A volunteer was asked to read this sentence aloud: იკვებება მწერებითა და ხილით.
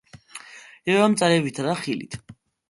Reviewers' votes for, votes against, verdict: 0, 2, rejected